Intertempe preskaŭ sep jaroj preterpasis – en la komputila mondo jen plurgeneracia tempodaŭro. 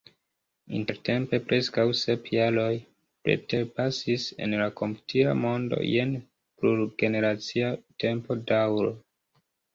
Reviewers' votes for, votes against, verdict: 0, 2, rejected